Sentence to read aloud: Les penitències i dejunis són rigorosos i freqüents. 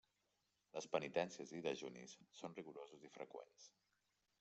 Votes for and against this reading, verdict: 0, 2, rejected